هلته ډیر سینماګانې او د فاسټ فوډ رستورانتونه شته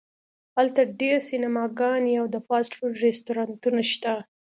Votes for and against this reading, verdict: 2, 0, accepted